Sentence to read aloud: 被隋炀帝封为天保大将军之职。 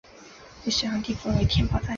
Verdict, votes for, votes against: rejected, 0, 2